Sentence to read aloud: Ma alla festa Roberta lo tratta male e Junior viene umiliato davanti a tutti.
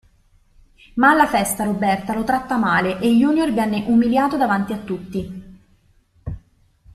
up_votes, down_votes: 2, 0